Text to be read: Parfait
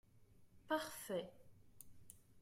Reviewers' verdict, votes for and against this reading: accepted, 2, 0